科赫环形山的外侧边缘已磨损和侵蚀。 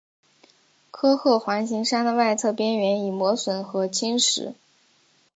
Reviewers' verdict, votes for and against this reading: accepted, 4, 0